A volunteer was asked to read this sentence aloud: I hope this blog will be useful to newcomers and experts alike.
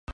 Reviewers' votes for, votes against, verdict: 0, 2, rejected